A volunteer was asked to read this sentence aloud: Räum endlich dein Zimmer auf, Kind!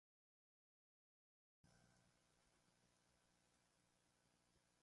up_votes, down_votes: 0, 2